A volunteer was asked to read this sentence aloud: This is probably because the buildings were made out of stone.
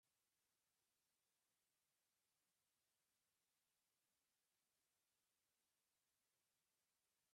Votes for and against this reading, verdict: 0, 2, rejected